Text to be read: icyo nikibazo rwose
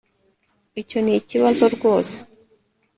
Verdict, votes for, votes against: accepted, 2, 0